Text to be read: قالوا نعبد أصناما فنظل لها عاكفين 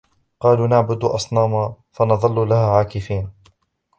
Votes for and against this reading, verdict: 2, 0, accepted